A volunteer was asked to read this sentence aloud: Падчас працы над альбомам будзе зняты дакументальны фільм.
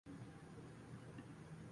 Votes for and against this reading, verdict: 1, 2, rejected